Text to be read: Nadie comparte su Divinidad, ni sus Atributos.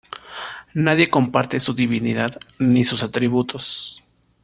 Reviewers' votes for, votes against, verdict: 2, 0, accepted